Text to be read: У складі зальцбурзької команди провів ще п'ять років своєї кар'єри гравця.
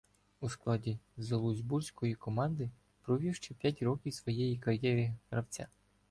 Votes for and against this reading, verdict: 0, 2, rejected